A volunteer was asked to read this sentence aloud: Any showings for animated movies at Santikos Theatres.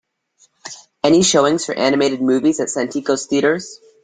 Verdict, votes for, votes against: accepted, 2, 1